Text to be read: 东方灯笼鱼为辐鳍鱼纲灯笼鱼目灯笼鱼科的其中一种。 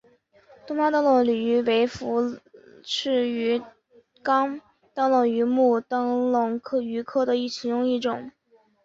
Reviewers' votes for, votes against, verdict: 0, 3, rejected